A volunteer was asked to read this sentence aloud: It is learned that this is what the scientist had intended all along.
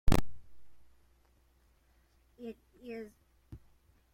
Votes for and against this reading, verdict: 0, 2, rejected